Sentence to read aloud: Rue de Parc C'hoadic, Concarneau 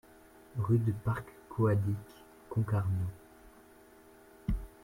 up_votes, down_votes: 2, 0